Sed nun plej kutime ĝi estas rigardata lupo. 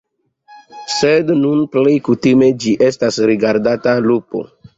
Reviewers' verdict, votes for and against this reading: accepted, 2, 1